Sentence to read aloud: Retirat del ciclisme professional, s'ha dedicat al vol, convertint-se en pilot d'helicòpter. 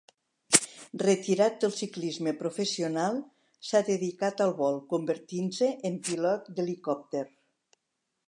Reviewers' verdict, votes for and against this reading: accepted, 3, 0